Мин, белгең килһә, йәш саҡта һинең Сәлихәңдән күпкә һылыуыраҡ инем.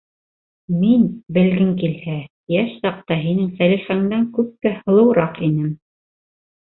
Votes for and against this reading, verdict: 3, 0, accepted